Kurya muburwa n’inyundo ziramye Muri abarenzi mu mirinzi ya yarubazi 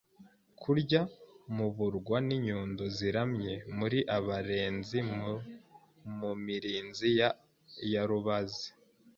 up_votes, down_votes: 1, 2